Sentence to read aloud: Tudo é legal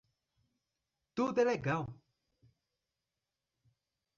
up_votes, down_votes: 4, 0